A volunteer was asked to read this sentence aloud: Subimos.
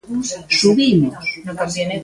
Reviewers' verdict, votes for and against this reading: rejected, 1, 2